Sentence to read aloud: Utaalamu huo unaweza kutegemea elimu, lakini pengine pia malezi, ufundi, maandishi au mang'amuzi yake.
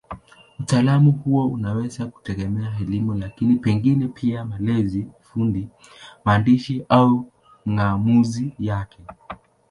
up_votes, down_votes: 0, 2